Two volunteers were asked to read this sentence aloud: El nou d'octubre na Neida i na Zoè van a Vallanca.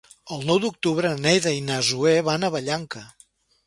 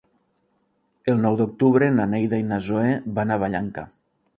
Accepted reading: second